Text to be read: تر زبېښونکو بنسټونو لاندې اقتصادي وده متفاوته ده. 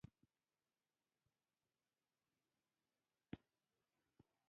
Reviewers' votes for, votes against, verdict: 1, 2, rejected